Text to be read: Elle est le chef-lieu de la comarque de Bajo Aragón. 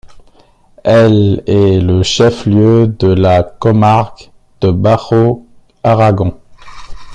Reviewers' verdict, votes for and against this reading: accepted, 2, 0